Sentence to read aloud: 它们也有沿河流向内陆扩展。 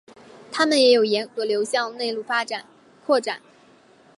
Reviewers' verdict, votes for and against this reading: rejected, 0, 3